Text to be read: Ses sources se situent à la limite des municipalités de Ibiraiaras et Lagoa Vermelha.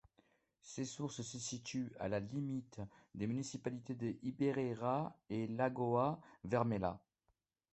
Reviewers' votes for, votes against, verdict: 2, 1, accepted